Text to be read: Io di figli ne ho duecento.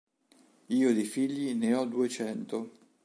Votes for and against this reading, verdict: 2, 0, accepted